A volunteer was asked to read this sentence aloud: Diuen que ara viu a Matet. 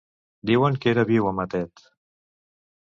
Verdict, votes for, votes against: rejected, 1, 2